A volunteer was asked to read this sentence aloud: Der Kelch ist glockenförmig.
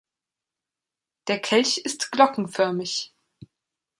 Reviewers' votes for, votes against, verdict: 2, 0, accepted